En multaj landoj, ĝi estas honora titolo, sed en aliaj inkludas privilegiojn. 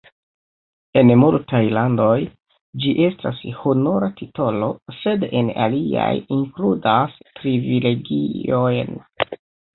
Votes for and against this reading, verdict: 2, 1, accepted